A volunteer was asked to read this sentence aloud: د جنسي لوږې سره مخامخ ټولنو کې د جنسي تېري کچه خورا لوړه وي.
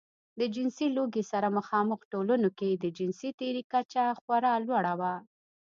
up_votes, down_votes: 1, 2